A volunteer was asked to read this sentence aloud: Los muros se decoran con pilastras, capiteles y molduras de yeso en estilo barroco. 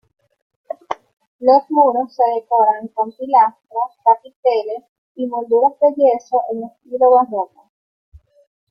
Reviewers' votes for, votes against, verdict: 3, 1, accepted